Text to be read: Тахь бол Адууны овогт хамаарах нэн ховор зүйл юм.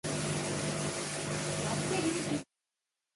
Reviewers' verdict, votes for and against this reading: rejected, 0, 2